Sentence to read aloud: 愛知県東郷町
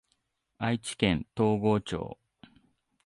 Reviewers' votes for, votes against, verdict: 2, 0, accepted